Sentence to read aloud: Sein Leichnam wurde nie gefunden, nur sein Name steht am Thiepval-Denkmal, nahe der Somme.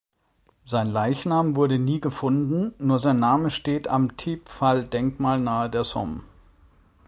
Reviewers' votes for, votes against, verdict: 3, 0, accepted